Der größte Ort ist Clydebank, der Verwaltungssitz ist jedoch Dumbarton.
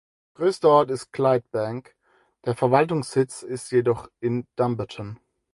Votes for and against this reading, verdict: 0, 4, rejected